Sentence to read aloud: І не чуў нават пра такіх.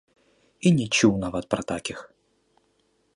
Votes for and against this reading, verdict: 1, 2, rejected